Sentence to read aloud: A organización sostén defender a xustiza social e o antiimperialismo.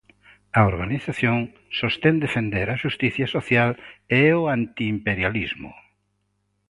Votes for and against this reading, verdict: 1, 2, rejected